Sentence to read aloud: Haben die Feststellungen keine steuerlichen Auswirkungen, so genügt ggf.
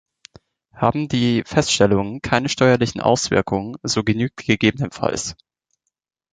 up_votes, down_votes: 3, 0